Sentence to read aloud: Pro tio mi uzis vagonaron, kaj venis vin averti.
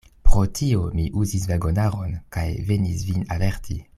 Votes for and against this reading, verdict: 1, 2, rejected